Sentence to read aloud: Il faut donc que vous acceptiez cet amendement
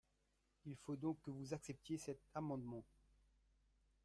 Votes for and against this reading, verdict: 2, 1, accepted